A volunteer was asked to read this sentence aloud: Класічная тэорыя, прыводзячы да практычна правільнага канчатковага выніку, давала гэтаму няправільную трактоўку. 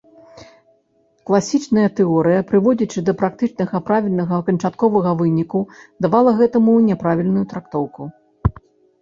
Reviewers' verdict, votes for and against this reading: rejected, 1, 2